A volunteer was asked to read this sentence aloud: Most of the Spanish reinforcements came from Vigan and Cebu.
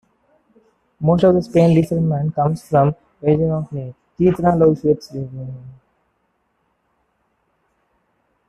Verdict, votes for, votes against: rejected, 0, 2